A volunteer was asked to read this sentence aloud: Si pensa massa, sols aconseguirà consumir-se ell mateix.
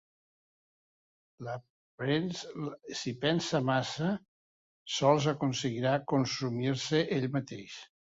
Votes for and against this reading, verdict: 0, 2, rejected